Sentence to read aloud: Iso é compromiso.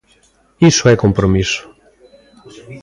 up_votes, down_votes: 3, 0